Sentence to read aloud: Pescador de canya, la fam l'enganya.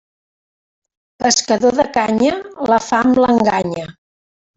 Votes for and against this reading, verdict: 1, 2, rejected